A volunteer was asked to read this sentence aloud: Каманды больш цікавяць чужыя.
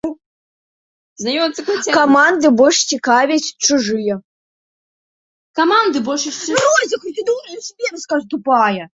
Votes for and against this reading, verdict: 0, 2, rejected